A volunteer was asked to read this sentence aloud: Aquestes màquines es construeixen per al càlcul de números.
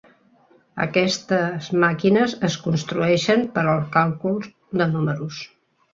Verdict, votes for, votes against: accepted, 3, 1